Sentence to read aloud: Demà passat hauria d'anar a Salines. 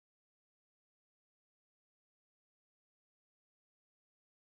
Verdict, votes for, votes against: rejected, 0, 2